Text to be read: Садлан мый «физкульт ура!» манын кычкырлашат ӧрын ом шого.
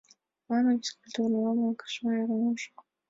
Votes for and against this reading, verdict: 1, 2, rejected